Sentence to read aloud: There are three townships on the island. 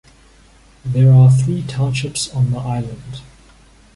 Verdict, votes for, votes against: accepted, 2, 0